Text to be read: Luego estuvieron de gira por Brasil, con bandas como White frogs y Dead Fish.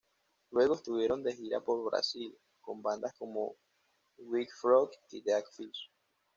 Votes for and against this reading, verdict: 1, 2, rejected